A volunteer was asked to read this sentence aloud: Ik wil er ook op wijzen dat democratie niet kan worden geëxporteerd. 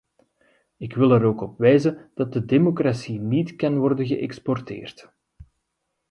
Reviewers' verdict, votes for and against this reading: rejected, 0, 2